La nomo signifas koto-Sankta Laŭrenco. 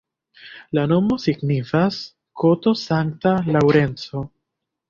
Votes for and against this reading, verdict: 2, 1, accepted